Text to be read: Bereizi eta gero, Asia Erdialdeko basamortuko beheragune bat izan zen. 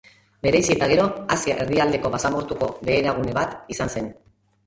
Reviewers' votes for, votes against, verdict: 2, 0, accepted